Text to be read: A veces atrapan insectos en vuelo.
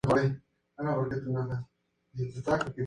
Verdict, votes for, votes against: rejected, 0, 2